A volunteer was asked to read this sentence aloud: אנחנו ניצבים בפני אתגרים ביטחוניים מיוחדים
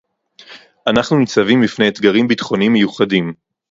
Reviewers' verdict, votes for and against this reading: accepted, 4, 0